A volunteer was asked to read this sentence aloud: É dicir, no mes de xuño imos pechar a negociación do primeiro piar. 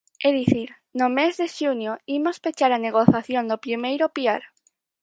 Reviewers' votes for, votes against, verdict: 0, 4, rejected